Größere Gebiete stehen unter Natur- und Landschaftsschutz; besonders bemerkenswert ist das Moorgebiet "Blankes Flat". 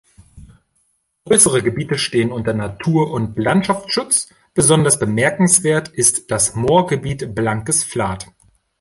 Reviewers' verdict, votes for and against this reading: accepted, 2, 0